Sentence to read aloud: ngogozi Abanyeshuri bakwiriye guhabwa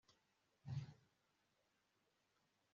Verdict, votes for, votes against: rejected, 1, 2